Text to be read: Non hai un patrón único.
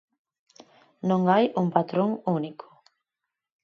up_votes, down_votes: 8, 0